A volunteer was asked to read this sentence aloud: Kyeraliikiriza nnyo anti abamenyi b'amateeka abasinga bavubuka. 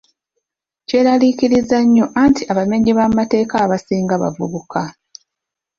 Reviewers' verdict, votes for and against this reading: accepted, 2, 0